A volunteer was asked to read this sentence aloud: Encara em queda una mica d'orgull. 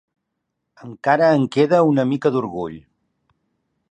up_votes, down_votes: 2, 1